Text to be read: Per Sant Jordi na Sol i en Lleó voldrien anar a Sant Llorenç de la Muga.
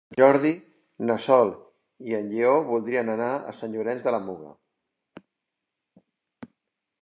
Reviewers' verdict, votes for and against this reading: rejected, 0, 2